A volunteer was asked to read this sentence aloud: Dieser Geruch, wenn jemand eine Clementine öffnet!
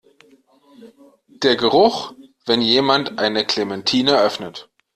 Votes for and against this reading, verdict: 0, 2, rejected